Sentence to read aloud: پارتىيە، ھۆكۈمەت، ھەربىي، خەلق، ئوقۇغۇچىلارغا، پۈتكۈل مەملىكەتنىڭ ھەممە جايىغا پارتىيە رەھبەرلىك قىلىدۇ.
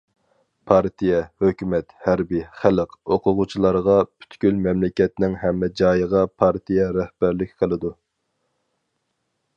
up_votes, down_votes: 4, 0